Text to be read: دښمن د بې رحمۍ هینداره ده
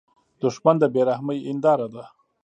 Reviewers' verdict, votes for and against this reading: accepted, 2, 0